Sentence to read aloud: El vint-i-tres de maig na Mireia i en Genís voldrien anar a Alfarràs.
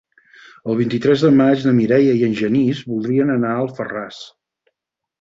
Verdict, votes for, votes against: accepted, 6, 0